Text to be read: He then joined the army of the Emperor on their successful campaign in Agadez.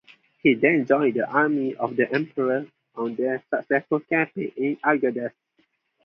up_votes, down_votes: 2, 2